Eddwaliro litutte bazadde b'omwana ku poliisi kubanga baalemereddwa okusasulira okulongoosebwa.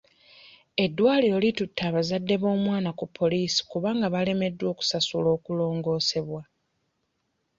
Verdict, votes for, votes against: accepted, 2, 1